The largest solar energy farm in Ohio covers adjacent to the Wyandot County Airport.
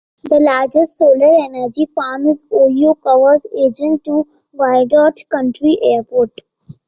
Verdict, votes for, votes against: rejected, 1, 2